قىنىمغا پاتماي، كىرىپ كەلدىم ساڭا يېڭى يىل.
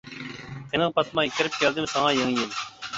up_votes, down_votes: 0, 2